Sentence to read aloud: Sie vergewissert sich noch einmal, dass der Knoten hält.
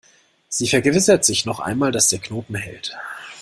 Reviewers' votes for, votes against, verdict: 2, 0, accepted